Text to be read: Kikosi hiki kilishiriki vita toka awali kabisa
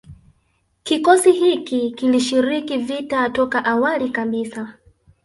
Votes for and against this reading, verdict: 1, 2, rejected